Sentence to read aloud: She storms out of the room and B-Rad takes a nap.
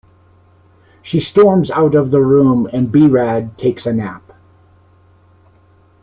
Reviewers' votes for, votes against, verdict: 2, 0, accepted